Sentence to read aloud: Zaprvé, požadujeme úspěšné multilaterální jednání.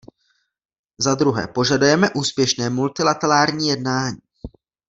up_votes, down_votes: 0, 2